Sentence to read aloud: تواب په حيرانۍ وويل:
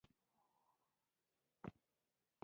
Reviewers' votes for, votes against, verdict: 0, 2, rejected